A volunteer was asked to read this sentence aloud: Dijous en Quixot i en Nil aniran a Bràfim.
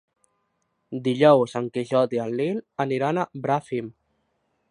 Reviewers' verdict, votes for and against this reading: rejected, 1, 2